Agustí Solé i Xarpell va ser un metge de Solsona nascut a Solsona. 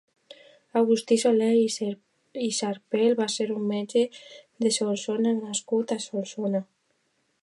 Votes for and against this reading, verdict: 1, 2, rejected